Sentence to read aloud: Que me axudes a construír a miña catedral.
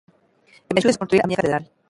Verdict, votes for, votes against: rejected, 0, 2